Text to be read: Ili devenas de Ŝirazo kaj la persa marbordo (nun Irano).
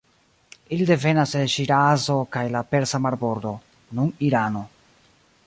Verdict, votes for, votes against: rejected, 1, 2